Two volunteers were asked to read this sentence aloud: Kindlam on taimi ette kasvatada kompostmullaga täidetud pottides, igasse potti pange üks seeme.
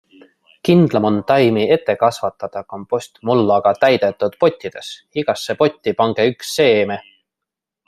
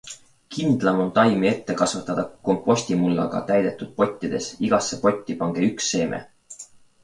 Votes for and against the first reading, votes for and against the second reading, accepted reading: 1, 2, 2, 1, second